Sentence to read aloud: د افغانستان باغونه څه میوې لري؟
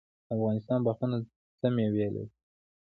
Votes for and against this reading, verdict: 0, 2, rejected